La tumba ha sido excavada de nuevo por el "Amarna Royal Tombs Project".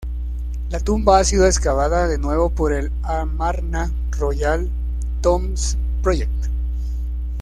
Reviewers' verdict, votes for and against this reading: rejected, 1, 2